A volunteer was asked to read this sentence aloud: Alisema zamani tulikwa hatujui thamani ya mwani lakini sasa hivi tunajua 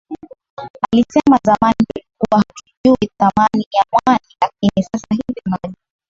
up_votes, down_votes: 4, 5